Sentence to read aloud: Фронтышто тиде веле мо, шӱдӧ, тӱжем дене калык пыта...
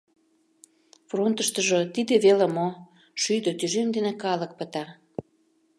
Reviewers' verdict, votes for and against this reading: rejected, 0, 2